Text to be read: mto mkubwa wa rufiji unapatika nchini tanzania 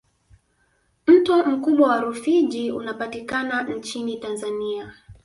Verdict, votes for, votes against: rejected, 1, 2